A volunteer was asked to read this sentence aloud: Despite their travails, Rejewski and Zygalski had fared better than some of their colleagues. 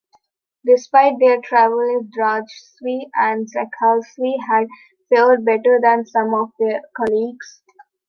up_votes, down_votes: 0, 2